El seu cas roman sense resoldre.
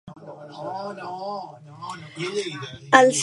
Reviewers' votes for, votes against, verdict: 1, 2, rejected